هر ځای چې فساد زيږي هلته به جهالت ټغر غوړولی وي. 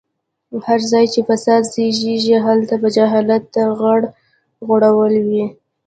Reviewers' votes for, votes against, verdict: 1, 2, rejected